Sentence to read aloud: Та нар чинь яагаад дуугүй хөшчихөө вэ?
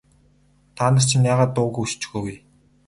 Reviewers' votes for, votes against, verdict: 2, 2, rejected